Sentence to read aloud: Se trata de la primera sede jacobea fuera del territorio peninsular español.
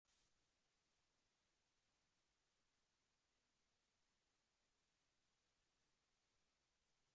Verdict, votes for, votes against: rejected, 0, 2